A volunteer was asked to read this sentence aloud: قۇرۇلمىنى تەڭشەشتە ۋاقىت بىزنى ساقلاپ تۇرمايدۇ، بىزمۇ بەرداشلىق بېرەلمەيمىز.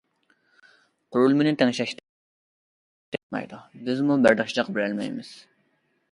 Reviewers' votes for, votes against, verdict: 0, 2, rejected